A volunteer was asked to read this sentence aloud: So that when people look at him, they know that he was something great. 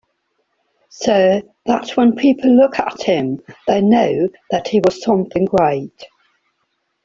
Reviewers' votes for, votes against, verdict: 4, 0, accepted